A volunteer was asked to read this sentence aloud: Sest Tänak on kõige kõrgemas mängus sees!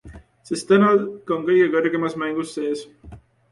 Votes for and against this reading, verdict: 2, 0, accepted